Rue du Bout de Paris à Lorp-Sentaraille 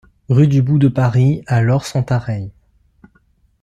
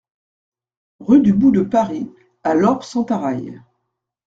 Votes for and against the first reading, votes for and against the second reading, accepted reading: 0, 2, 2, 0, second